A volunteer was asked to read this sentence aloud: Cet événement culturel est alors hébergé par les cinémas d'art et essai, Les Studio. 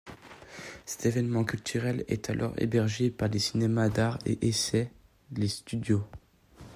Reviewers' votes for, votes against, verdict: 2, 0, accepted